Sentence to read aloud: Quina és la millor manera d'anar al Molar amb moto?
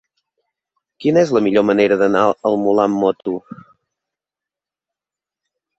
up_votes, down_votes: 2, 0